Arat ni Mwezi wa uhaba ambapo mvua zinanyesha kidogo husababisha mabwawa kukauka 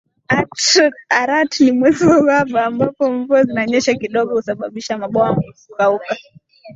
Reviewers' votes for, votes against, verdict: 2, 0, accepted